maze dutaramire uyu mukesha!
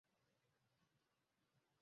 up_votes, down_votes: 0, 2